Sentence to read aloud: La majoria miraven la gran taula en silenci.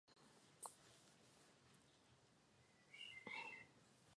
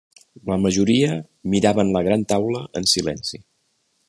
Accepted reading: second